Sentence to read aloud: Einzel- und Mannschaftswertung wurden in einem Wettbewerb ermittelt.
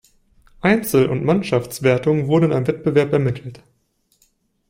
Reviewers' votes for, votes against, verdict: 0, 2, rejected